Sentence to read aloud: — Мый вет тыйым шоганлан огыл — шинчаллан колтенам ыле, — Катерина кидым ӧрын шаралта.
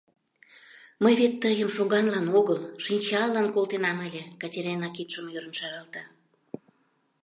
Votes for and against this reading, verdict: 1, 3, rejected